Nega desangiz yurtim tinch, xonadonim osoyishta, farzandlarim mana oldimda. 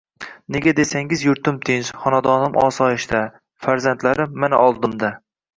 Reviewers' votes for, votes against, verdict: 1, 2, rejected